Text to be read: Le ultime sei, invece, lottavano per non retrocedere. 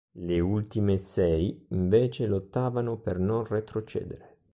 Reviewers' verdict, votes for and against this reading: accepted, 2, 0